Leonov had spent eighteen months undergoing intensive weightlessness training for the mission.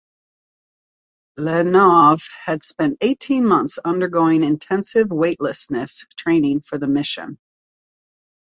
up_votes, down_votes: 2, 0